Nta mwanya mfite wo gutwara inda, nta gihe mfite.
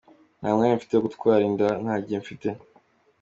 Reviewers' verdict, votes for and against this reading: accepted, 2, 0